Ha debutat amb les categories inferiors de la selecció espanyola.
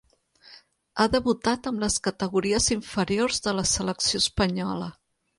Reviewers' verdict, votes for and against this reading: accepted, 3, 0